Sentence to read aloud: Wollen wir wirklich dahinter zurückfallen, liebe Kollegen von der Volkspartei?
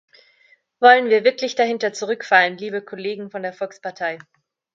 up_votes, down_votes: 2, 0